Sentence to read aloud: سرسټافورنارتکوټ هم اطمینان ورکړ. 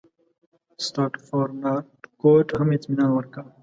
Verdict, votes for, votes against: accepted, 2, 0